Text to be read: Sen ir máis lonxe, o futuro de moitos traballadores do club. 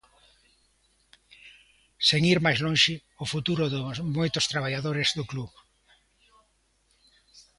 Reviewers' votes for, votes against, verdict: 0, 2, rejected